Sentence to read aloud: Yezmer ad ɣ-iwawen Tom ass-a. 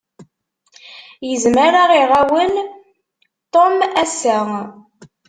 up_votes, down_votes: 0, 2